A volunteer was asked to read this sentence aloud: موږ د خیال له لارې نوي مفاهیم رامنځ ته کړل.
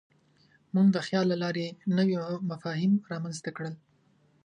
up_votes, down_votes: 2, 0